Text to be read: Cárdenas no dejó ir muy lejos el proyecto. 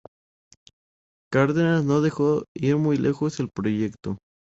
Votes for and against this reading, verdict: 2, 0, accepted